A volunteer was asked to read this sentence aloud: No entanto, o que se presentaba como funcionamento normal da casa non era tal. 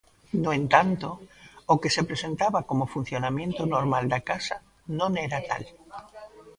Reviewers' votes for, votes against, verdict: 0, 2, rejected